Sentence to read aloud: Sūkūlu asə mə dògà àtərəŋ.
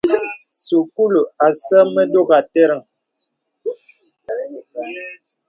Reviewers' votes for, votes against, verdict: 2, 0, accepted